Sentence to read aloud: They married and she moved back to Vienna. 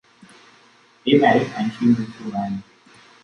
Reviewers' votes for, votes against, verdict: 0, 2, rejected